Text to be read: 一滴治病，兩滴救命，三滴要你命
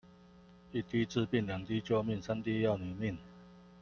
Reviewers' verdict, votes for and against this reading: accepted, 2, 0